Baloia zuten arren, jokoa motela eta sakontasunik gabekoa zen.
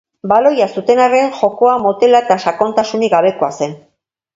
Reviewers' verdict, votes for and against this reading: accepted, 2, 0